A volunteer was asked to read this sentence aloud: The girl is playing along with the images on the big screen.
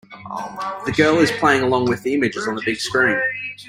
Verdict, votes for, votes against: accepted, 2, 0